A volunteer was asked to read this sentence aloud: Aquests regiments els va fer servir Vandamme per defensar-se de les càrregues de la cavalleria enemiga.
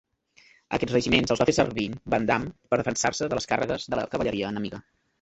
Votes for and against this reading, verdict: 1, 2, rejected